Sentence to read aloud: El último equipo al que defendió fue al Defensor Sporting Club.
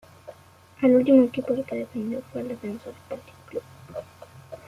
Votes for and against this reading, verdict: 1, 2, rejected